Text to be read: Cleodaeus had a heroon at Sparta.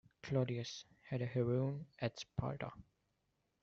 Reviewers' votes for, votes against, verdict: 2, 0, accepted